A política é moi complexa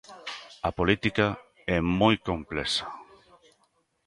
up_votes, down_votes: 0, 2